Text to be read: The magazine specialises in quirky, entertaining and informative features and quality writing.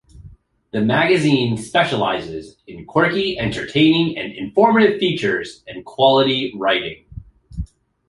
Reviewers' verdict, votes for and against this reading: accepted, 2, 0